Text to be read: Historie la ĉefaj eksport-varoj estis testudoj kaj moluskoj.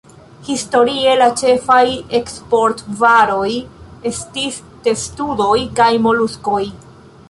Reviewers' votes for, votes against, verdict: 2, 0, accepted